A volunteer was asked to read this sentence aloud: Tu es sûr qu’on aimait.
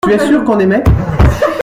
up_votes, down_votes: 0, 2